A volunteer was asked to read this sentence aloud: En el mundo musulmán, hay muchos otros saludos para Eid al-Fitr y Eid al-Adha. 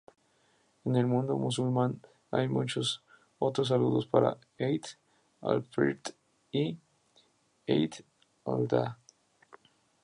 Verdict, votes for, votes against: rejected, 0, 2